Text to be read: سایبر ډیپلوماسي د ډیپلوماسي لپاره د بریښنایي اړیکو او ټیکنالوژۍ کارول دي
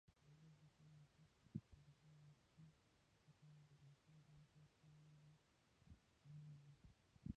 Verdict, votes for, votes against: rejected, 0, 2